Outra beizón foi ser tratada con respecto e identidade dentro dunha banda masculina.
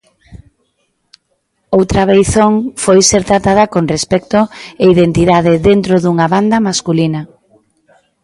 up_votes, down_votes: 2, 0